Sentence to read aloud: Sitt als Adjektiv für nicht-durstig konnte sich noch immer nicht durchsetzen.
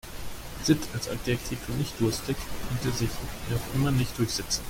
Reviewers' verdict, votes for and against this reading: rejected, 0, 2